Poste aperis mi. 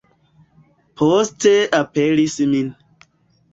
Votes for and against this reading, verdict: 2, 1, accepted